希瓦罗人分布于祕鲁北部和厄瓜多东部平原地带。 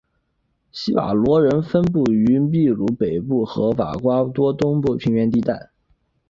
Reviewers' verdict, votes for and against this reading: rejected, 1, 2